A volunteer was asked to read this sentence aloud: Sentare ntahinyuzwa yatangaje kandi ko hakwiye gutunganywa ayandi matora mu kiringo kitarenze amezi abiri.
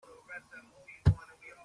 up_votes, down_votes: 0, 3